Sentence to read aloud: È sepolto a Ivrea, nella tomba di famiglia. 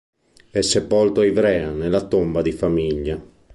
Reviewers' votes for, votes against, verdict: 2, 0, accepted